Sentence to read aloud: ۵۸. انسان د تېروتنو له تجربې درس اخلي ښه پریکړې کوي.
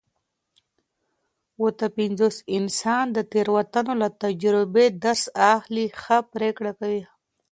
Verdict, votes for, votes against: rejected, 0, 2